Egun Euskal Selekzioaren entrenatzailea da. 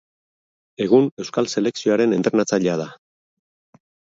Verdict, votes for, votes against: accepted, 2, 0